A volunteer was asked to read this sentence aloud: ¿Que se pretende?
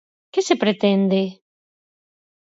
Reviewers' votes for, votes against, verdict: 4, 0, accepted